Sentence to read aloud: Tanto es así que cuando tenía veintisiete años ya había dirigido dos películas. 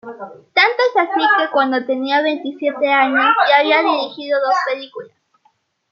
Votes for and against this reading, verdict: 2, 1, accepted